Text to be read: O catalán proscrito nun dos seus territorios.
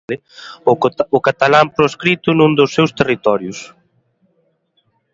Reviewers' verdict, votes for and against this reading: rejected, 1, 2